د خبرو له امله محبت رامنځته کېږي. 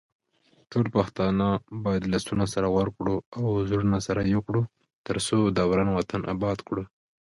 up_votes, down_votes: 0, 2